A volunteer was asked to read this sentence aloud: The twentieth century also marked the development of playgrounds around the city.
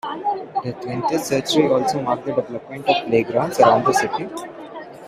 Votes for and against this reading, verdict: 2, 1, accepted